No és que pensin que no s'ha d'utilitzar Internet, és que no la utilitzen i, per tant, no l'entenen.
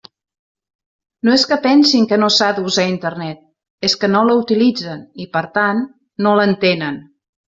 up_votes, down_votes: 1, 2